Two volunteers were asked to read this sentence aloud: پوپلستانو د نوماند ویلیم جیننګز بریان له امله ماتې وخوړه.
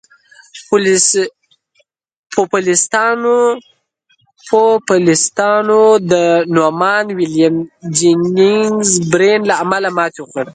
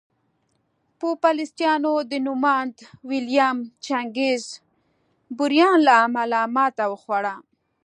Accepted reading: second